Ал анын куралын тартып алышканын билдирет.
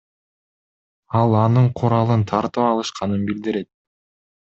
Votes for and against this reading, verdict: 2, 0, accepted